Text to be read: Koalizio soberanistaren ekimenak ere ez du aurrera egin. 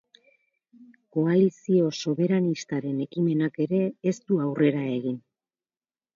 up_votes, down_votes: 6, 0